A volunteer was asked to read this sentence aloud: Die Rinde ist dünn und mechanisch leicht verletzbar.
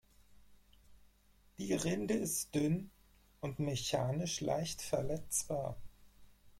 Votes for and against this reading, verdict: 2, 4, rejected